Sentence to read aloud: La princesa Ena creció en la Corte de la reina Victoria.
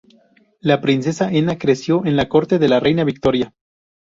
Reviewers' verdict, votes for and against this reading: rejected, 2, 2